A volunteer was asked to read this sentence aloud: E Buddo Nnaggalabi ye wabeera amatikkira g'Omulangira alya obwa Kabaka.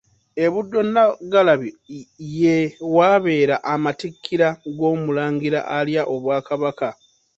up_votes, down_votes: 0, 2